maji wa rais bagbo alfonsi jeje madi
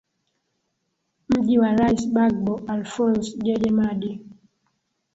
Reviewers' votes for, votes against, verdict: 2, 1, accepted